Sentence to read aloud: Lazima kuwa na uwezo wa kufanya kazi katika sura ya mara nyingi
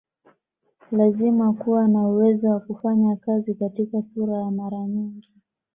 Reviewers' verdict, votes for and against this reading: accepted, 2, 0